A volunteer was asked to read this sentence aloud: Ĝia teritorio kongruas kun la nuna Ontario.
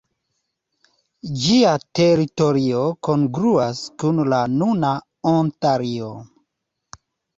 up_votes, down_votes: 2, 0